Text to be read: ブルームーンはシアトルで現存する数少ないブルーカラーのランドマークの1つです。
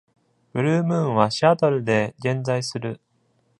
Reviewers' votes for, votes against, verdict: 0, 2, rejected